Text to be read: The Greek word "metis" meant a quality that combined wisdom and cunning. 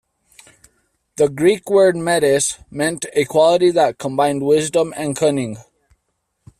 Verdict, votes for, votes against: accepted, 2, 0